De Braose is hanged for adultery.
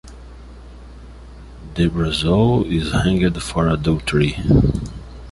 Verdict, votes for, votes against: rejected, 1, 2